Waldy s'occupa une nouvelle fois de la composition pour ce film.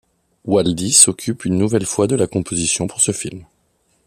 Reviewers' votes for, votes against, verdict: 1, 2, rejected